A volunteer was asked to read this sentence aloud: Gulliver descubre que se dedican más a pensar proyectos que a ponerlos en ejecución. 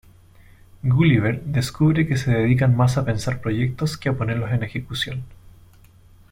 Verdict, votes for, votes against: accepted, 2, 1